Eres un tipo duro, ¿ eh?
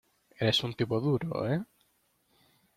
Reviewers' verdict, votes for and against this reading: accepted, 2, 0